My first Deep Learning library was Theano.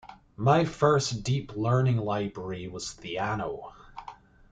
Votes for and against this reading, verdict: 2, 0, accepted